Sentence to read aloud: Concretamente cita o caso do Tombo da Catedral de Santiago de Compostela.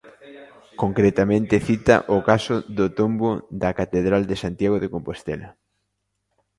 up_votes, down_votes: 2, 0